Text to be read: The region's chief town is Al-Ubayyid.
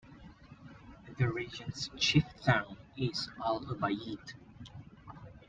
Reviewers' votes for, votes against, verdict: 2, 1, accepted